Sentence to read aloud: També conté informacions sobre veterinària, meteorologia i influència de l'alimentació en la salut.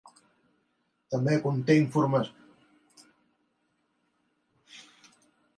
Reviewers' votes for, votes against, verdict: 0, 3, rejected